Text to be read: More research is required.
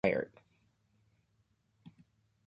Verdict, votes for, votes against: rejected, 0, 2